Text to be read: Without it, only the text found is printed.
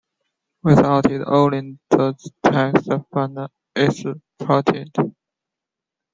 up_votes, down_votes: 0, 2